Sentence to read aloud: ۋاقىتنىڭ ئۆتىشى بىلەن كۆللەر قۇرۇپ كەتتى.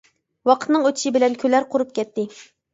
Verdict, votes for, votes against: rejected, 0, 2